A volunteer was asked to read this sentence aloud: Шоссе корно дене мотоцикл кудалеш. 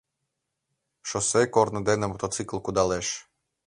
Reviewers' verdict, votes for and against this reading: accepted, 2, 0